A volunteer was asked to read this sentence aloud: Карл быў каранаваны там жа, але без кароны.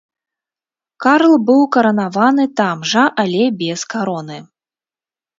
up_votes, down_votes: 2, 0